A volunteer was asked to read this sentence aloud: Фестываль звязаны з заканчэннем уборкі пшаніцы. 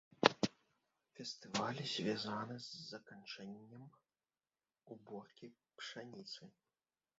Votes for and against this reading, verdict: 1, 3, rejected